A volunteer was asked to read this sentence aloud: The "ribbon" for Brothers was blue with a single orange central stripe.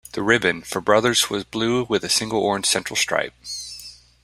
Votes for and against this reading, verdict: 2, 0, accepted